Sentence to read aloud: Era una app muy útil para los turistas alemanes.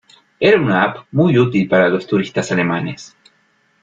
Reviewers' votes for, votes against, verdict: 2, 0, accepted